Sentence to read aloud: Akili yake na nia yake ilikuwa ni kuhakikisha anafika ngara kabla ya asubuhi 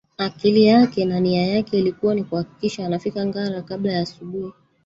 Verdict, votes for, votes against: rejected, 0, 2